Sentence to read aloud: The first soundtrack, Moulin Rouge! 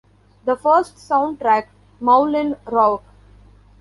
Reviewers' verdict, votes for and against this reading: rejected, 1, 3